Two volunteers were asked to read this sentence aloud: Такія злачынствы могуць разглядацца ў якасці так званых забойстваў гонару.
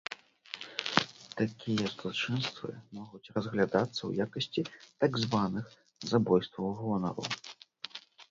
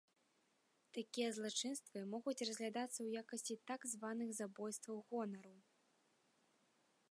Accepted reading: second